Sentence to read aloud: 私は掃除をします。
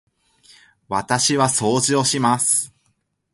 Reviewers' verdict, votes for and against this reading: accepted, 2, 0